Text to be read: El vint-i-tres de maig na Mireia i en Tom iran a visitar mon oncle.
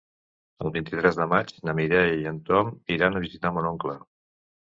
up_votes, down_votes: 2, 0